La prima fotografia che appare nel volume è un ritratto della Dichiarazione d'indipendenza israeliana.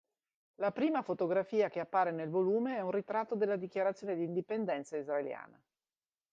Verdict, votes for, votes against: accepted, 2, 0